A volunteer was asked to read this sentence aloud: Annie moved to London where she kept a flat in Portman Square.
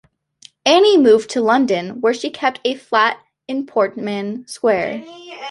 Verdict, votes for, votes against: rejected, 1, 2